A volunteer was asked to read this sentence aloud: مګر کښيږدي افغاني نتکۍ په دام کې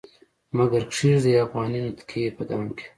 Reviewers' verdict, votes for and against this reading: accepted, 2, 1